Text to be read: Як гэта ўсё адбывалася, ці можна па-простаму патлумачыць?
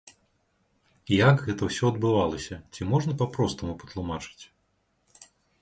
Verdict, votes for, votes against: accepted, 2, 0